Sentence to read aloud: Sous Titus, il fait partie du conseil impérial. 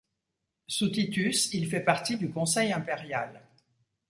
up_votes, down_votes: 2, 0